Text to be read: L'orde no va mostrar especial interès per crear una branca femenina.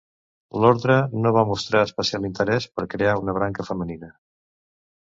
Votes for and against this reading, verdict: 1, 2, rejected